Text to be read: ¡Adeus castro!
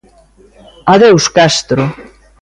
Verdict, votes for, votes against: accepted, 2, 0